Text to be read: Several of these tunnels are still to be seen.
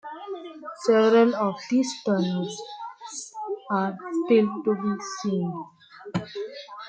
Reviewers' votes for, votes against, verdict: 2, 0, accepted